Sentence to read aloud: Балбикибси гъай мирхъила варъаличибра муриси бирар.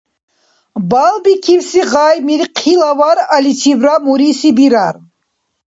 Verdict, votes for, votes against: accepted, 2, 0